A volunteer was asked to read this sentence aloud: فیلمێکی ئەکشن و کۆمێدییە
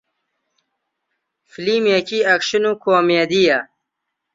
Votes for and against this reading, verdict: 2, 0, accepted